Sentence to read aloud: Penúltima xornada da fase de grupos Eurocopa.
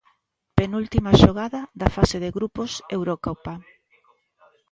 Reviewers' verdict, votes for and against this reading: rejected, 0, 2